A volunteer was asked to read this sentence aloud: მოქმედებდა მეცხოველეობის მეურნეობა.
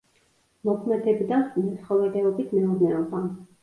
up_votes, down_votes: 0, 2